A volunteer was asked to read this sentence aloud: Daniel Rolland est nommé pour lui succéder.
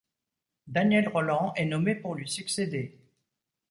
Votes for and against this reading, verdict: 2, 0, accepted